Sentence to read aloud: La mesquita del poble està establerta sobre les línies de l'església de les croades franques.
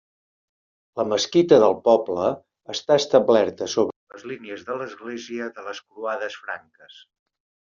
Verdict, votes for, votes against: rejected, 0, 2